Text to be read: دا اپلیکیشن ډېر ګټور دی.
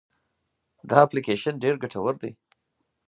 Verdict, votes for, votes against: accepted, 4, 0